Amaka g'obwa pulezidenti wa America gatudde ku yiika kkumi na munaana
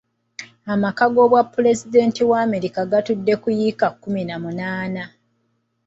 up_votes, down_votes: 2, 0